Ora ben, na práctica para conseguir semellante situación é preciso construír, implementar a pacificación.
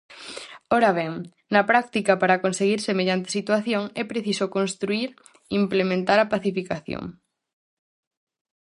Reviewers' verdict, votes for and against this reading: accepted, 4, 0